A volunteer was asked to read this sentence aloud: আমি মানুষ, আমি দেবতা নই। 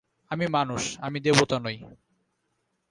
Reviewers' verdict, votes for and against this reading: accepted, 2, 0